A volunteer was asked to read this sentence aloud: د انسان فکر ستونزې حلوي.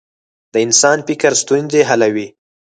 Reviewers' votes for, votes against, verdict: 4, 0, accepted